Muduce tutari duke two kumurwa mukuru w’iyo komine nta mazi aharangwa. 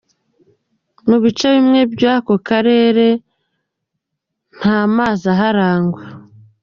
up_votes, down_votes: 0, 2